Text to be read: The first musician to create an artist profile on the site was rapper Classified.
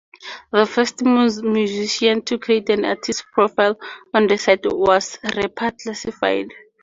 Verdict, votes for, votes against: rejected, 0, 4